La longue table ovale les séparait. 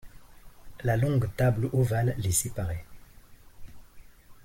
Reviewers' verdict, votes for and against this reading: accepted, 2, 0